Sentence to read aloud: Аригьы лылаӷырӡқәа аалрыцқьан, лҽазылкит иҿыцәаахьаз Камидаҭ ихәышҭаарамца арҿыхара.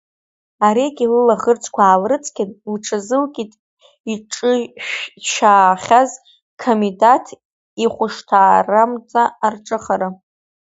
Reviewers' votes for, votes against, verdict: 0, 2, rejected